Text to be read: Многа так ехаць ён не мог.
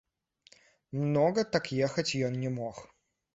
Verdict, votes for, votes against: rejected, 0, 2